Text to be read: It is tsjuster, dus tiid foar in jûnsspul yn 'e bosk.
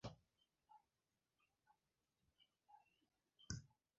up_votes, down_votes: 0, 2